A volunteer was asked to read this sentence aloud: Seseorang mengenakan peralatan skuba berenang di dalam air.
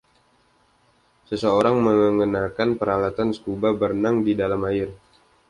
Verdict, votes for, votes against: accepted, 2, 0